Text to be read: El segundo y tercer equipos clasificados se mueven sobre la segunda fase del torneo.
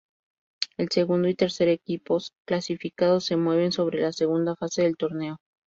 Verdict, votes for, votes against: rejected, 0, 2